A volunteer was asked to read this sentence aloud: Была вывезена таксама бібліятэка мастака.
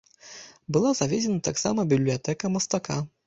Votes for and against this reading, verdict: 0, 2, rejected